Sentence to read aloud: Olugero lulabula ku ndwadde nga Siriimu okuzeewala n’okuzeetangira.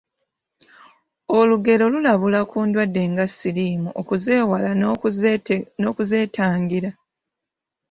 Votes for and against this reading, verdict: 0, 2, rejected